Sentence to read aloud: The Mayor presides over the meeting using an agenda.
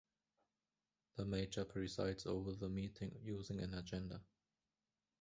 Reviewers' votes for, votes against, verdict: 0, 2, rejected